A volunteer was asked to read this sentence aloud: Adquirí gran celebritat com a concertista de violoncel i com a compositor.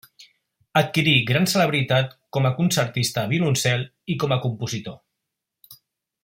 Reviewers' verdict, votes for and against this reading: rejected, 0, 2